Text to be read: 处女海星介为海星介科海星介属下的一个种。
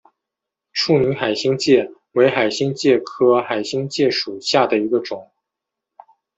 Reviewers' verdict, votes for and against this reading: rejected, 1, 2